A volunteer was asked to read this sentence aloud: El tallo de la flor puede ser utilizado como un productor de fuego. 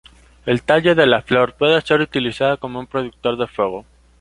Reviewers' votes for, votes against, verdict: 2, 0, accepted